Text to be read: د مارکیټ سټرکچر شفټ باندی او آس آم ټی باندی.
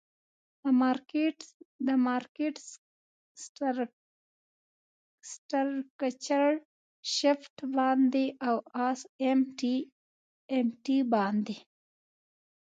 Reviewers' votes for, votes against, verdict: 0, 2, rejected